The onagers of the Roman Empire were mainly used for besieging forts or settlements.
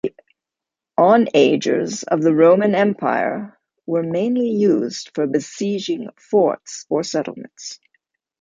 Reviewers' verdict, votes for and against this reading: rejected, 1, 2